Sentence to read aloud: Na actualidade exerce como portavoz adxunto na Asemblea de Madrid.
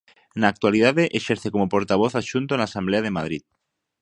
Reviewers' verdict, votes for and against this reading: accepted, 2, 0